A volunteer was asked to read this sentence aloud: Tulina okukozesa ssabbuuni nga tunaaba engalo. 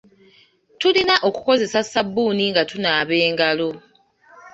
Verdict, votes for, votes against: accepted, 2, 0